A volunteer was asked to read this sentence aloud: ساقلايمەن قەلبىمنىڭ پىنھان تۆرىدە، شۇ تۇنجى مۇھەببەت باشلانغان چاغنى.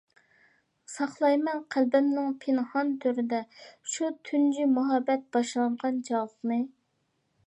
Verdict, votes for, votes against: rejected, 0, 2